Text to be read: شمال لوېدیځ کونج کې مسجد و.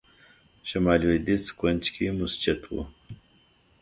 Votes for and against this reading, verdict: 2, 0, accepted